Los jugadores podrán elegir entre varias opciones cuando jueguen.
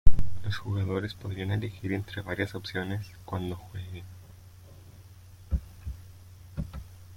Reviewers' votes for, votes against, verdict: 2, 1, accepted